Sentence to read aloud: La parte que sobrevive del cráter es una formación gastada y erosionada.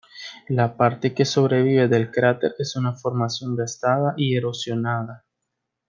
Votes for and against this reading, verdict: 2, 0, accepted